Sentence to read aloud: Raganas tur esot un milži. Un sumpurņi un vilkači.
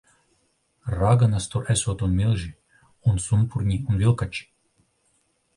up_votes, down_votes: 3, 0